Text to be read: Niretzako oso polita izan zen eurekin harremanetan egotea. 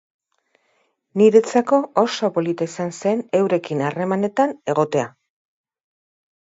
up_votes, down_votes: 2, 0